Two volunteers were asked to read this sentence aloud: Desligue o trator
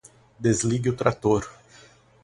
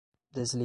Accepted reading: first